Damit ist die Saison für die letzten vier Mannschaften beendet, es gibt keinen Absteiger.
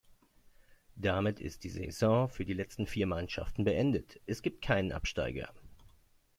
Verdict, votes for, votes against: accepted, 2, 0